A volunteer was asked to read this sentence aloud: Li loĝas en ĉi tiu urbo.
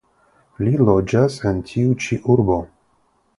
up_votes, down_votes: 0, 3